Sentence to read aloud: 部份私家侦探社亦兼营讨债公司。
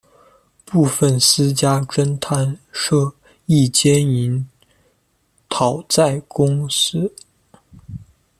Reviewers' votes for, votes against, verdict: 2, 0, accepted